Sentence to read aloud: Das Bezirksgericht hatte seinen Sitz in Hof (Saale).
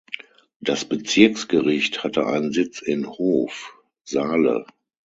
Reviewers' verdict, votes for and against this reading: rejected, 0, 6